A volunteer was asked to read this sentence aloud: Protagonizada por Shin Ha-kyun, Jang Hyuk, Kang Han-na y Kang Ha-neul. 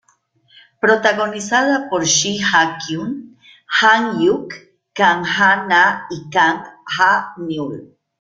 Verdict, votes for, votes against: accepted, 2, 0